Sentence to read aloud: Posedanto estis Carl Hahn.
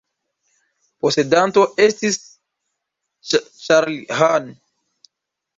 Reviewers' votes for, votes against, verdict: 0, 2, rejected